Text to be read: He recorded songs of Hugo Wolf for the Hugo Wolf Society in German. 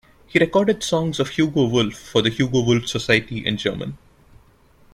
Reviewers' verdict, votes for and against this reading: accepted, 2, 0